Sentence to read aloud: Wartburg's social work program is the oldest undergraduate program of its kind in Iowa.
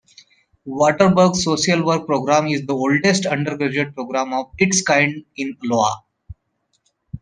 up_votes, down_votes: 0, 2